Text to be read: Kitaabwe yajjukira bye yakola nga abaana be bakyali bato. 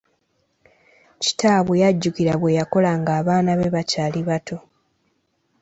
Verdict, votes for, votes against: accepted, 2, 1